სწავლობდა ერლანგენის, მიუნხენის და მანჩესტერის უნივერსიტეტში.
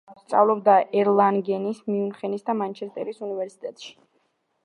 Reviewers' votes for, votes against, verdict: 0, 2, rejected